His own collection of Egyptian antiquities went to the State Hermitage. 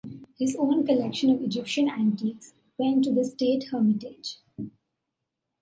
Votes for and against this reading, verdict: 2, 1, accepted